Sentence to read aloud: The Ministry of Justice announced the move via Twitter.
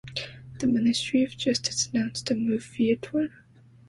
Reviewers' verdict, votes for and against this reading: rejected, 0, 2